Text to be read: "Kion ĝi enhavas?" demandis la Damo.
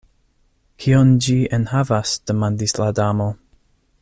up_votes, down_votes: 2, 0